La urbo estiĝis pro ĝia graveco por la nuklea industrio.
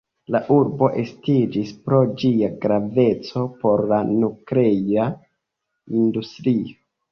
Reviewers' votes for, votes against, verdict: 0, 2, rejected